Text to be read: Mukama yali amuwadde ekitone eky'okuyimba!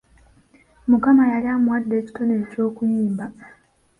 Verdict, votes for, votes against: accepted, 2, 0